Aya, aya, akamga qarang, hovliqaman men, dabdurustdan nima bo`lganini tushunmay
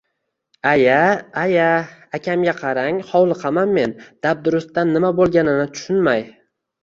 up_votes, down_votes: 2, 0